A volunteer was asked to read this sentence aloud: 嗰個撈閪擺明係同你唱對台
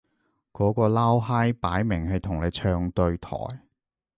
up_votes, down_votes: 2, 0